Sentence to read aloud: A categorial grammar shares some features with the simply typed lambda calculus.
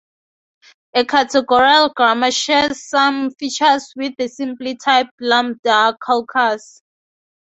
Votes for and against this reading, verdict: 0, 2, rejected